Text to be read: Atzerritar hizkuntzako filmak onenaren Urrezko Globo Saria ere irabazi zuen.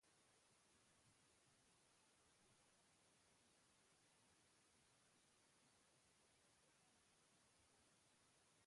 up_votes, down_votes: 0, 2